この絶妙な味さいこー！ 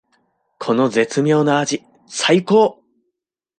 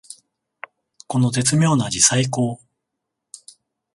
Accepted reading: first